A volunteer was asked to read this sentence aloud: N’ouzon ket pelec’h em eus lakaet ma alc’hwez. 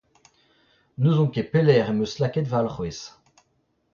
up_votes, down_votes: 0, 2